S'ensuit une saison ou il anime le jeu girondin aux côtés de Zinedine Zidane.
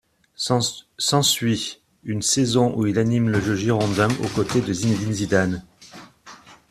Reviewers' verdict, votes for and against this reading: rejected, 1, 2